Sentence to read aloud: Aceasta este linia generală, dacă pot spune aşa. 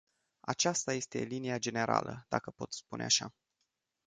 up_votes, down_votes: 2, 0